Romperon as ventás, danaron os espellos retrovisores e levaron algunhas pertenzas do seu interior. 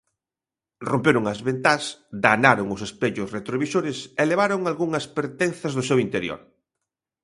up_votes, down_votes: 2, 0